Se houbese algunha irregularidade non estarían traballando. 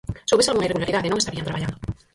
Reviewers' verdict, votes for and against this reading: rejected, 0, 4